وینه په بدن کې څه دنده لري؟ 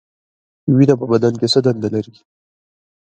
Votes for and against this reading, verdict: 2, 1, accepted